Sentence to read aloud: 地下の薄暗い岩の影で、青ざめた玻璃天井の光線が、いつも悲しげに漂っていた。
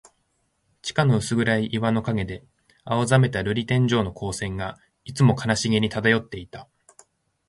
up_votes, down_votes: 2, 0